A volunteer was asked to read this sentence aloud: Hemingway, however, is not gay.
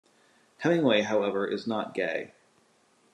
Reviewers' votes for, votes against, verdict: 2, 0, accepted